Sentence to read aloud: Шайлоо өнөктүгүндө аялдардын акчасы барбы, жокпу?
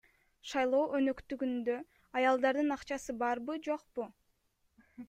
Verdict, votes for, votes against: accepted, 2, 0